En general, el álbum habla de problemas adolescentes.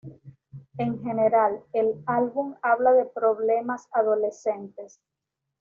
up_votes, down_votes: 2, 0